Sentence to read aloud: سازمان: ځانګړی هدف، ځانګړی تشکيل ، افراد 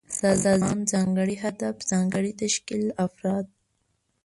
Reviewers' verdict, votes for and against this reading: rejected, 1, 2